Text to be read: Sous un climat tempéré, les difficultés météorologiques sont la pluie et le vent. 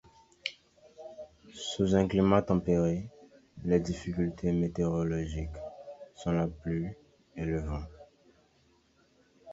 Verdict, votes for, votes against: accepted, 2, 0